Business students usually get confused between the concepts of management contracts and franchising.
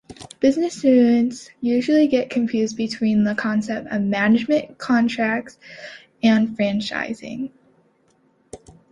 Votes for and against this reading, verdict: 0, 2, rejected